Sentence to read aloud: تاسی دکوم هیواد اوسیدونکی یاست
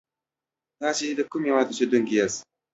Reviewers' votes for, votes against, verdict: 2, 0, accepted